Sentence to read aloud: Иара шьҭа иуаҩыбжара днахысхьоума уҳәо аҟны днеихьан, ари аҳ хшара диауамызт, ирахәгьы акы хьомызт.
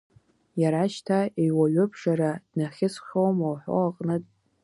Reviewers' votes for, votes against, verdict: 1, 2, rejected